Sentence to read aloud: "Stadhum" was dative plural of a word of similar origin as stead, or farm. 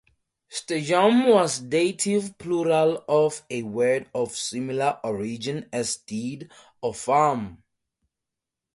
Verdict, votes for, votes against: accepted, 2, 0